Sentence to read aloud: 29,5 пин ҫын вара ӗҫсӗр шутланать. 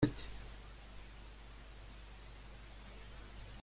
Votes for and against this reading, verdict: 0, 2, rejected